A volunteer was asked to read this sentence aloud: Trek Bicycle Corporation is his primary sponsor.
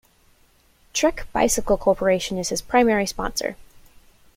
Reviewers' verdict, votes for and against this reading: accepted, 2, 0